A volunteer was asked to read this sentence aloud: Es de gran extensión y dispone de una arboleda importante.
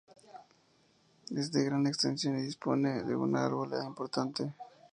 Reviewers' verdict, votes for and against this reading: accepted, 2, 0